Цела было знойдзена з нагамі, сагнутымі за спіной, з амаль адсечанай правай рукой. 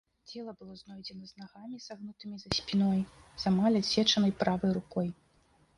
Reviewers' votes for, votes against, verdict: 1, 2, rejected